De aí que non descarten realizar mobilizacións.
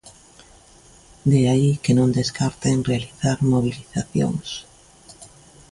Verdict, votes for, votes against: accepted, 2, 0